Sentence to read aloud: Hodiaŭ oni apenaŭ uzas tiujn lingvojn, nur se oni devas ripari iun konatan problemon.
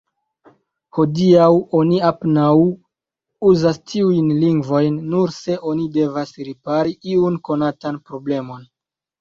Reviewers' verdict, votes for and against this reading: accepted, 2, 1